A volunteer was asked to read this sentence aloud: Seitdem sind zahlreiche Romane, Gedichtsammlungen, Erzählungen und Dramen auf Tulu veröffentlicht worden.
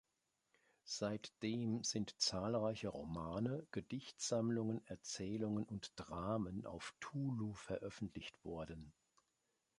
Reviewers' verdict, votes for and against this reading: accepted, 2, 0